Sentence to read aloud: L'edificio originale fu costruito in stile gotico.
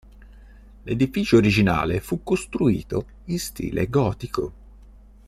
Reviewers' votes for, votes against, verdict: 2, 0, accepted